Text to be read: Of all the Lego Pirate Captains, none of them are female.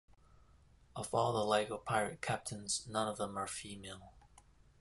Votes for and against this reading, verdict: 2, 0, accepted